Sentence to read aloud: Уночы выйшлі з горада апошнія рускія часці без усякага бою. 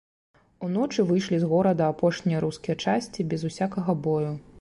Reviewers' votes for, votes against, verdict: 2, 0, accepted